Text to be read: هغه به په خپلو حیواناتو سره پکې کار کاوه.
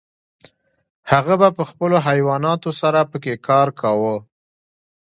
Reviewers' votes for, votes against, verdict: 2, 0, accepted